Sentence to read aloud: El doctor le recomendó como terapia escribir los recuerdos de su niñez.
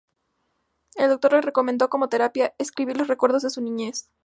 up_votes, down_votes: 2, 0